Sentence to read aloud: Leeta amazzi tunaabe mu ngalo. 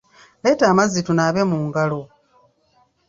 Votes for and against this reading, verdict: 2, 0, accepted